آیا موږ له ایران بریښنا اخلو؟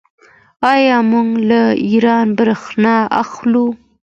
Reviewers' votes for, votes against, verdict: 2, 0, accepted